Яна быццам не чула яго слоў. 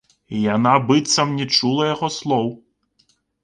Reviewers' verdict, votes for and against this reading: accepted, 2, 0